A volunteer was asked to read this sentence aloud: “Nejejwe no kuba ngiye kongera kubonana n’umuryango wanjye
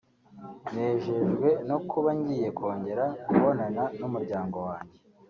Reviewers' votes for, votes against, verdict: 2, 0, accepted